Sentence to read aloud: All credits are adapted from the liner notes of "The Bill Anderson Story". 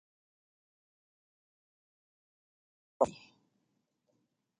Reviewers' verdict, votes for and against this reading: rejected, 0, 2